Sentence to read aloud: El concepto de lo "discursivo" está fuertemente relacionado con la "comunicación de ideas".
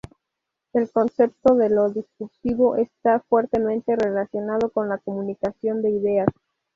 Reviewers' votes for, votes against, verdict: 2, 0, accepted